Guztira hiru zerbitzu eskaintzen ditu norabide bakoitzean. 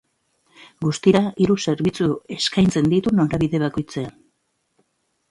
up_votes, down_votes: 2, 0